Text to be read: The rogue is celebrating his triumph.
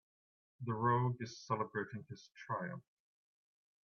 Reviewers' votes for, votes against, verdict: 2, 0, accepted